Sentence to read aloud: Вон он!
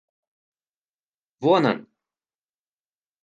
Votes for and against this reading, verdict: 2, 0, accepted